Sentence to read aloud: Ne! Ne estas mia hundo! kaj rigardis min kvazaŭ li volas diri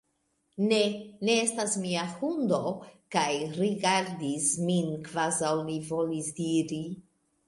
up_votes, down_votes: 1, 2